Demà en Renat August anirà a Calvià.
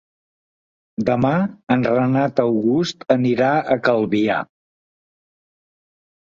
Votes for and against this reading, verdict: 3, 0, accepted